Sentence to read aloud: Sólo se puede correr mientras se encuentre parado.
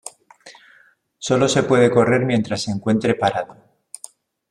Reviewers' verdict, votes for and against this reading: accepted, 2, 0